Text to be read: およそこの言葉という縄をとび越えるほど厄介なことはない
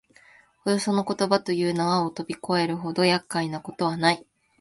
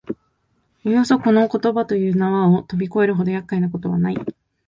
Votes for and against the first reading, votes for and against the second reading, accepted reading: 1, 2, 2, 0, second